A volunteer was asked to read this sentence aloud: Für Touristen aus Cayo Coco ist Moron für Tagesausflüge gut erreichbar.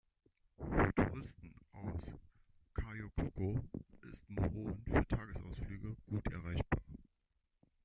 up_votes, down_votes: 0, 2